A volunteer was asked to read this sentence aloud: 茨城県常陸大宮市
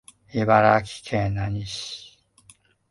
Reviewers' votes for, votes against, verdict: 0, 2, rejected